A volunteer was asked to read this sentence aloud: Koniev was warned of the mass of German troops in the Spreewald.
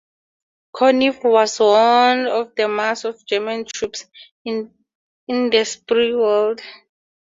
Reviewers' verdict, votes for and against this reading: rejected, 0, 4